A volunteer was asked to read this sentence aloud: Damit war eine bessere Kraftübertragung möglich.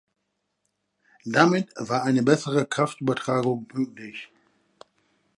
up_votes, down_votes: 1, 2